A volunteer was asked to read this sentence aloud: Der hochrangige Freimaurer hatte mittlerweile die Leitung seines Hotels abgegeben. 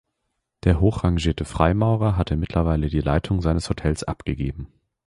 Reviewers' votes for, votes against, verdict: 0, 2, rejected